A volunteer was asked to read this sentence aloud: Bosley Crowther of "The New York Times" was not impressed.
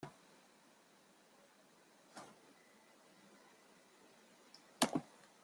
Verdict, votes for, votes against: rejected, 1, 2